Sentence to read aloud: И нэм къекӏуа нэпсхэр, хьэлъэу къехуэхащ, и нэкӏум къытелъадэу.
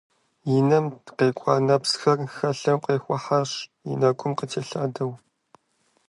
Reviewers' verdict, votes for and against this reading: rejected, 1, 2